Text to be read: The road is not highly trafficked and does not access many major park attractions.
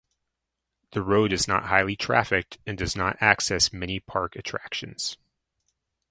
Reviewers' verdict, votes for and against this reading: rejected, 0, 2